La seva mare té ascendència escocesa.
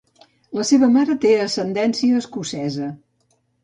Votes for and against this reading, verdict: 2, 0, accepted